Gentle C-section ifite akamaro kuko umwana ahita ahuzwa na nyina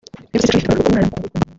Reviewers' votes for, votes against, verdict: 0, 3, rejected